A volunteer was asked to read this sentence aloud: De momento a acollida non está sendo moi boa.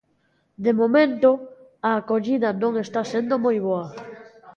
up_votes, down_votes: 0, 2